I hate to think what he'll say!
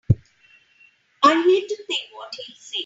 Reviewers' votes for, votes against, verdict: 1, 2, rejected